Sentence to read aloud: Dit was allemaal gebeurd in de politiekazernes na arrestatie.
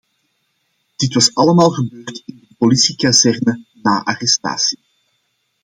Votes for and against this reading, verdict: 1, 2, rejected